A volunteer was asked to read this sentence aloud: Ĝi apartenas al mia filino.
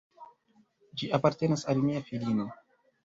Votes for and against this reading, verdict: 2, 1, accepted